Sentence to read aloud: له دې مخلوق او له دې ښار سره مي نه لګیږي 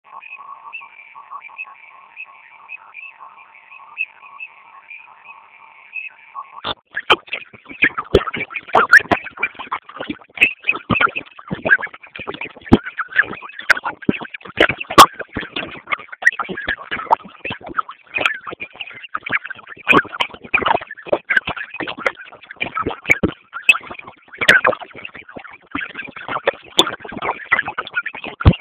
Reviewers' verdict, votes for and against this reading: rejected, 0, 2